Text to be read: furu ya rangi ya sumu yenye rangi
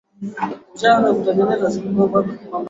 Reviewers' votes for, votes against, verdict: 0, 2, rejected